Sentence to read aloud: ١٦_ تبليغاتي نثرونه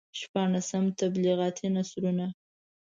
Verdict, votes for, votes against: rejected, 0, 2